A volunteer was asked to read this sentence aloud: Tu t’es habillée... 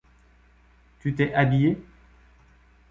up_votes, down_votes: 2, 0